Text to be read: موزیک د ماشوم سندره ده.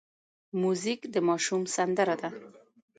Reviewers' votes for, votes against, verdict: 2, 0, accepted